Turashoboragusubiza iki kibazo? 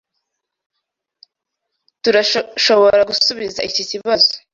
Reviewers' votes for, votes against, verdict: 0, 2, rejected